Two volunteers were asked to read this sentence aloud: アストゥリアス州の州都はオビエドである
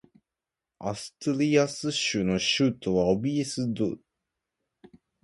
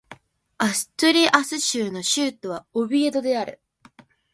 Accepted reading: second